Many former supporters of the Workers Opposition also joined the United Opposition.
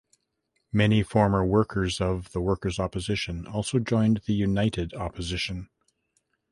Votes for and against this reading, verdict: 0, 2, rejected